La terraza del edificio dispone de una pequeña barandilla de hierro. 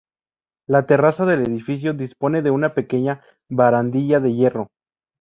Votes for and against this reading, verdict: 2, 0, accepted